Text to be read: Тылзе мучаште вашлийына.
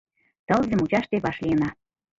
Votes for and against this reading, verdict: 2, 1, accepted